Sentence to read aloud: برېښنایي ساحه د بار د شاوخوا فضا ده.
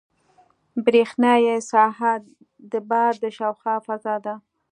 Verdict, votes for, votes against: accepted, 2, 0